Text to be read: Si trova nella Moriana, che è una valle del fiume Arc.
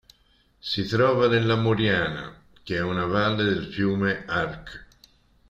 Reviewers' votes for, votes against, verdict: 2, 0, accepted